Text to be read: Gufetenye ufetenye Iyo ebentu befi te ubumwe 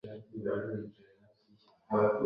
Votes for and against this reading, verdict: 0, 2, rejected